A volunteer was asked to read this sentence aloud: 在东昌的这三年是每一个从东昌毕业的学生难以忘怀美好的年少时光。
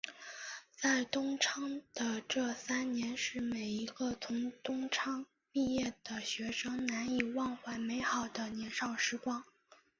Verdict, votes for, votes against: rejected, 0, 2